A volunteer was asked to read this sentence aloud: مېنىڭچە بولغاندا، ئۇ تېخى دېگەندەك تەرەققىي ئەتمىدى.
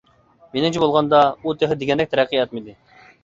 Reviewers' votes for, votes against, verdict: 2, 1, accepted